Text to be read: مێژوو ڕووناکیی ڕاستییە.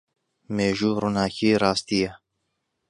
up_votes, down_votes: 2, 0